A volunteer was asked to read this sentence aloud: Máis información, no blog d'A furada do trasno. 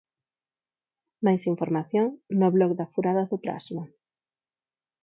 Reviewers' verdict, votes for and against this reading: rejected, 2, 4